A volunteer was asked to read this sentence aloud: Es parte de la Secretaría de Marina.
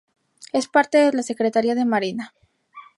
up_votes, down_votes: 0, 2